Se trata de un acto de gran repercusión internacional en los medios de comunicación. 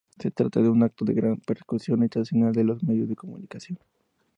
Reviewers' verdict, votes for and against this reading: rejected, 0, 2